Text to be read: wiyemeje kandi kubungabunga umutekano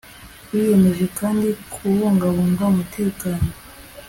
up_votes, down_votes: 3, 0